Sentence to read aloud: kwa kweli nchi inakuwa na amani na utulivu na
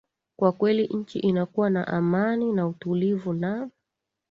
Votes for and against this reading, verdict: 2, 0, accepted